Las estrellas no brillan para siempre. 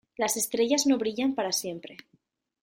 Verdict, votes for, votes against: accepted, 2, 0